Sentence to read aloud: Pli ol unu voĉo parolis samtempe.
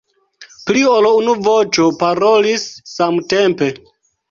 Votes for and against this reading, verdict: 1, 2, rejected